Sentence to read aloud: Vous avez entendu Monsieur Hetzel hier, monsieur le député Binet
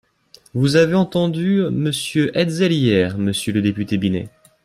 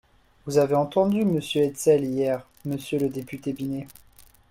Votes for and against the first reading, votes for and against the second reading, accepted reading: 2, 0, 1, 2, first